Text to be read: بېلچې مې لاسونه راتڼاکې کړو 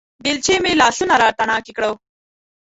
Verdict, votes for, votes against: rejected, 0, 2